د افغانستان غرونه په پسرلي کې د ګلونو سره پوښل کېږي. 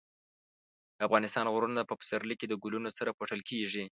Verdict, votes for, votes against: rejected, 1, 2